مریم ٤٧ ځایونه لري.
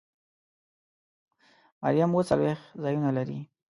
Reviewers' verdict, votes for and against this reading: rejected, 0, 2